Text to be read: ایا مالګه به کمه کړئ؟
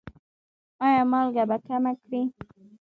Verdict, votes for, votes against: rejected, 1, 2